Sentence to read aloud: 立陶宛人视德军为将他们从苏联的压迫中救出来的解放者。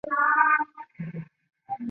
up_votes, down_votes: 0, 3